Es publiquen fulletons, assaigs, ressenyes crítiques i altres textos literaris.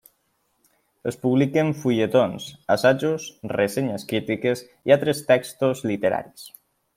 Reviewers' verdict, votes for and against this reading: rejected, 0, 2